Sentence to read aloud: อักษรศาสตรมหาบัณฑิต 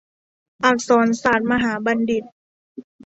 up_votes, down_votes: 1, 2